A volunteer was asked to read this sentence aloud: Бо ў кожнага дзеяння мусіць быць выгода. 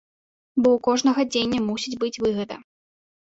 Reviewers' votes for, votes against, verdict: 0, 2, rejected